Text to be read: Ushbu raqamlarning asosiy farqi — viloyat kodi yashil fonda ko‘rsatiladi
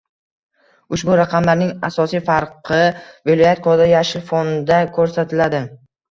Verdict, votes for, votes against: accepted, 2, 0